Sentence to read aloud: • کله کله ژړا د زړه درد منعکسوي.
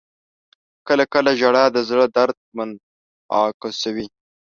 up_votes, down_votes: 2, 0